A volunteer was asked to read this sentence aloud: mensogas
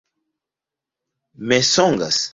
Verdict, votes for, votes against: rejected, 0, 2